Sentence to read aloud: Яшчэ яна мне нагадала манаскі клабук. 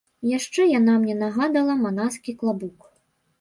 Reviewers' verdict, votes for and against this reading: rejected, 1, 3